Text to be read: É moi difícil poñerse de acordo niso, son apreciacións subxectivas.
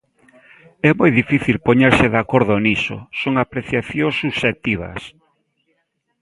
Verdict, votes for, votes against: accepted, 2, 0